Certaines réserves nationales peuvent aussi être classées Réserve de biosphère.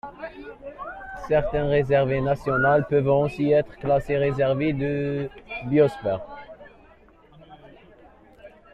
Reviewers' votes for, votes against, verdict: 2, 0, accepted